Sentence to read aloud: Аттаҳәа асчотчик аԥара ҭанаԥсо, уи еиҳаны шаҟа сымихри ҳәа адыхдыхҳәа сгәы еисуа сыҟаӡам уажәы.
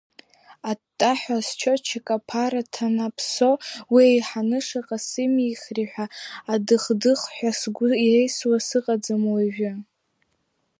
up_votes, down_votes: 1, 2